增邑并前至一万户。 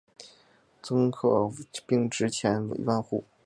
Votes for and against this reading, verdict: 0, 2, rejected